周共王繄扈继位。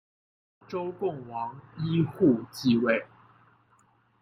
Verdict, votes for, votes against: accepted, 2, 0